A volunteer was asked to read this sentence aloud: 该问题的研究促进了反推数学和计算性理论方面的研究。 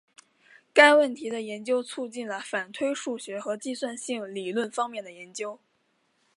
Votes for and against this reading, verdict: 2, 1, accepted